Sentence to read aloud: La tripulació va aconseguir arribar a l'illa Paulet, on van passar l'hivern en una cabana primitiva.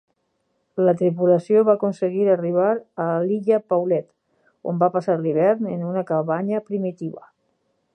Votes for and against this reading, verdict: 0, 4, rejected